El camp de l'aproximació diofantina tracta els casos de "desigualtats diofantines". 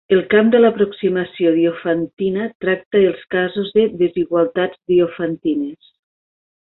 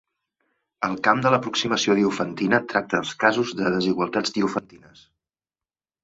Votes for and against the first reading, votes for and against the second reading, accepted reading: 2, 0, 2, 3, first